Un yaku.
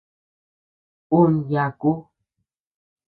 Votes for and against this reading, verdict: 2, 0, accepted